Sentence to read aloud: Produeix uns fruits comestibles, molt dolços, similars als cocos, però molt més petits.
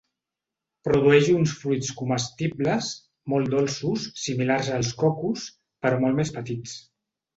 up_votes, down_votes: 2, 0